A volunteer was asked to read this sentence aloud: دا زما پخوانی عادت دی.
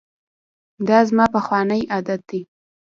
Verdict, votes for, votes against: rejected, 1, 2